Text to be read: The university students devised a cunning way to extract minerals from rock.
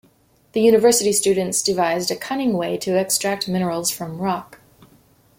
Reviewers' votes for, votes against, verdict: 2, 0, accepted